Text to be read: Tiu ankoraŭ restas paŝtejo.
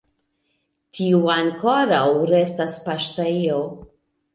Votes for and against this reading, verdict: 2, 1, accepted